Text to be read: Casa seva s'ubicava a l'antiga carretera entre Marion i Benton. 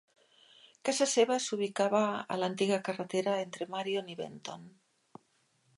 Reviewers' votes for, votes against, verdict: 3, 0, accepted